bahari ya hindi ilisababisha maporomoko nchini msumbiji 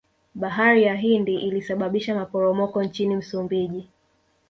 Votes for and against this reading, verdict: 2, 0, accepted